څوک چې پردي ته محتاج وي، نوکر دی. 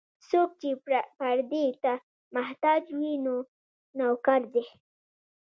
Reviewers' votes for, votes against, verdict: 1, 2, rejected